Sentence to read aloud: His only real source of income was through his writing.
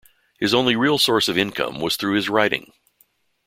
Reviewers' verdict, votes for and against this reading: accepted, 2, 0